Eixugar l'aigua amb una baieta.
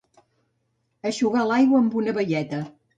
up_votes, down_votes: 2, 0